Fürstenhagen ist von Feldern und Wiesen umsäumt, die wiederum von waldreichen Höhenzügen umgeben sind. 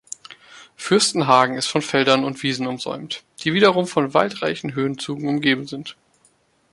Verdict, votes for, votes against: accepted, 3, 2